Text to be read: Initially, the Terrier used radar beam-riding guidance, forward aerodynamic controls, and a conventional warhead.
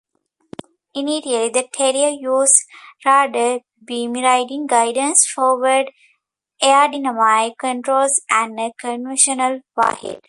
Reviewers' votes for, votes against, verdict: 0, 2, rejected